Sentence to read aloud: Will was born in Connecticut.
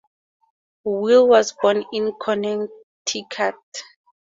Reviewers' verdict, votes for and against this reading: accepted, 4, 2